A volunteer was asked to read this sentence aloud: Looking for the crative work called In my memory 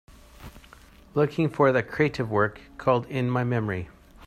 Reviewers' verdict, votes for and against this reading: accepted, 2, 0